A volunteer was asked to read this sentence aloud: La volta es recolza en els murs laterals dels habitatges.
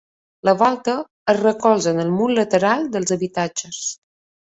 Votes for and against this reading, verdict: 0, 2, rejected